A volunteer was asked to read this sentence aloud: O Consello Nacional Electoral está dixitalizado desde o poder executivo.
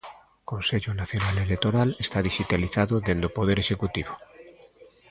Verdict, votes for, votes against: rejected, 1, 2